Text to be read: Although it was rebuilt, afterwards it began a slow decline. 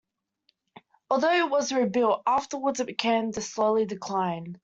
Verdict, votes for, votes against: rejected, 0, 2